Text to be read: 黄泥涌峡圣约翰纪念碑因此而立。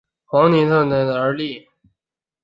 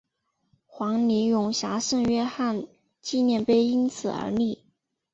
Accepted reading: second